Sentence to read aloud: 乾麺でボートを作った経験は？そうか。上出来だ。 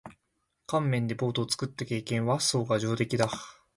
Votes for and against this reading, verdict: 0, 2, rejected